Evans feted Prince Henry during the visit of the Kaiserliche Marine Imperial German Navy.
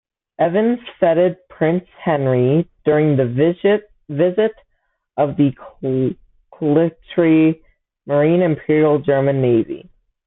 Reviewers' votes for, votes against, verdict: 1, 2, rejected